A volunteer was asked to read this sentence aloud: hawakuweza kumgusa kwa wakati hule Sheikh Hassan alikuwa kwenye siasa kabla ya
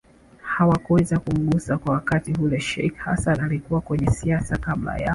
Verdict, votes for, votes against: accepted, 2, 1